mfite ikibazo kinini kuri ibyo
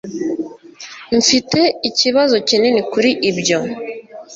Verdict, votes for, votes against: accepted, 2, 0